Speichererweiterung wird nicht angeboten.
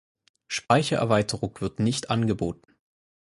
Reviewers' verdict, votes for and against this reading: accepted, 4, 0